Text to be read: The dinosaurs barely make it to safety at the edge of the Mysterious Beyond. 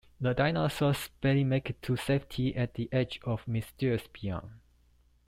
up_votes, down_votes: 0, 2